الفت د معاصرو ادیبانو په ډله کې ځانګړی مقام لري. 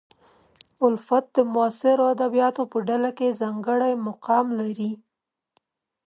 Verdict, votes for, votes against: rejected, 0, 2